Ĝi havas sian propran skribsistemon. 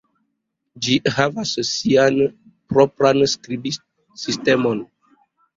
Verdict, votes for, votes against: rejected, 1, 2